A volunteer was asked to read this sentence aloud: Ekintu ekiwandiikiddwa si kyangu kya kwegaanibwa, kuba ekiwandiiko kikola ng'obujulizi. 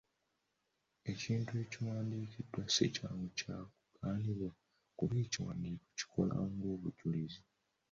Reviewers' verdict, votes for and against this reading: rejected, 0, 2